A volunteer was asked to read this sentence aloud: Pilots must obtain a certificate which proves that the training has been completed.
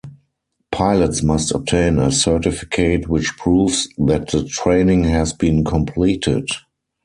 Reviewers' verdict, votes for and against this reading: rejected, 2, 4